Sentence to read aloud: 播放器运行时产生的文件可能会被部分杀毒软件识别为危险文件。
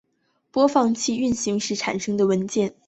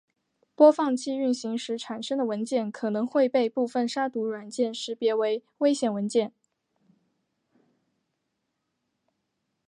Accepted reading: second